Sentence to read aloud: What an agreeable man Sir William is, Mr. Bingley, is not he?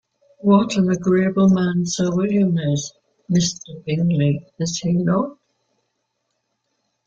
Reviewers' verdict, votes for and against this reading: rejected, 1, 2